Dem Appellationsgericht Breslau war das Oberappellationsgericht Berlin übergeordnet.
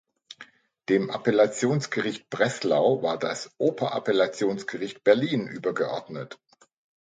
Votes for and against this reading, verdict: 2, 0, accepted